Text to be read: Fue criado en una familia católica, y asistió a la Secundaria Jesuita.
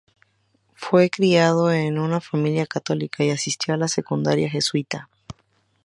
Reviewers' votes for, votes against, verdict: 2, 0, accepted